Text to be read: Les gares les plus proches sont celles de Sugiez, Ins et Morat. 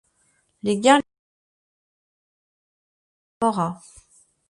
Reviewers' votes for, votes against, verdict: 0, 2, rejected